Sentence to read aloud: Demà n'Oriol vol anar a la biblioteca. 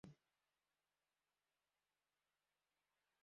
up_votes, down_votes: 1, 2